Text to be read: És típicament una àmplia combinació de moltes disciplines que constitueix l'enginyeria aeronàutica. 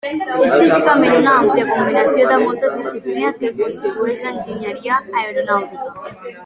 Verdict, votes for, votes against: rejected, 1, 2